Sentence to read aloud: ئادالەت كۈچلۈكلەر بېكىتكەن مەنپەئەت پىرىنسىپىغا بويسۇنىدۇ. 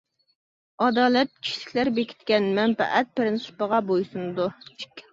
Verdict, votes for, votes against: accepted, 2, 0